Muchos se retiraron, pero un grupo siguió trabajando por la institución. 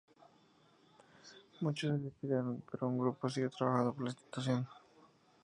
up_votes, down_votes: 0, 2